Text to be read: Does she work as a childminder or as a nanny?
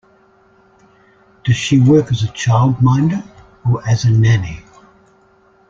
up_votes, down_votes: 2, 1